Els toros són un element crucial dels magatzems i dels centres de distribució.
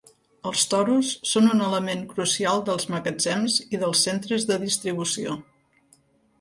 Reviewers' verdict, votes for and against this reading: accepted, 2, 0